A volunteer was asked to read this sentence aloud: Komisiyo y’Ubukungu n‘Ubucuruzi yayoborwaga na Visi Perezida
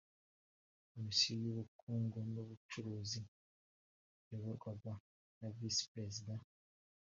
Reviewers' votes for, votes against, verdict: 1, 2, rejected